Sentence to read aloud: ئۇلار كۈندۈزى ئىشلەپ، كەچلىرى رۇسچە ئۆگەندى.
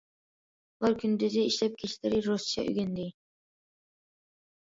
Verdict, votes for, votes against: accepted, 2, 0